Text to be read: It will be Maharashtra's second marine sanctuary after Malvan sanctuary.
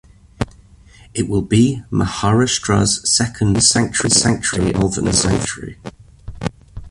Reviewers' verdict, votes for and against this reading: rejected, 0, 2